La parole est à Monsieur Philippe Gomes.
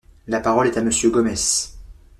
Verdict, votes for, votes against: rejected, 0, 2